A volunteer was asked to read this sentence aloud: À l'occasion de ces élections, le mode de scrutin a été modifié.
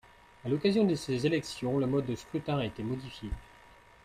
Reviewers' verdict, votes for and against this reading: accepted, 2, 0